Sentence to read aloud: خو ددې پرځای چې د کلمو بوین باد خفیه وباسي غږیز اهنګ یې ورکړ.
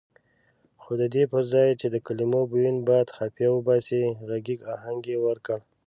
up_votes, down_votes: 2, 0